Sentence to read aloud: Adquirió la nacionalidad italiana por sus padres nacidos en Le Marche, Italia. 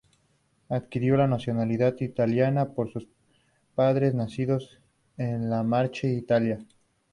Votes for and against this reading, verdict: 2, 0, accepted